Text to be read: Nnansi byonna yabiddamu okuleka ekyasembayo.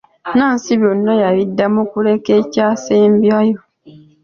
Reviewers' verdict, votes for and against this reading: accepted, 2, 0